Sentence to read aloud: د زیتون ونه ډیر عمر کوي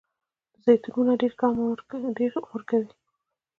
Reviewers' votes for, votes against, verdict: 0, 2, rejected